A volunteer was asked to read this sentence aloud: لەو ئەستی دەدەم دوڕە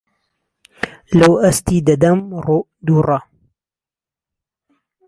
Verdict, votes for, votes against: rejected, 0, 2